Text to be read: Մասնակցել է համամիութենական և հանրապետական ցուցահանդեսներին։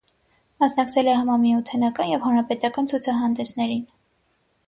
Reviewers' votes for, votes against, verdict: 6, 0, accepted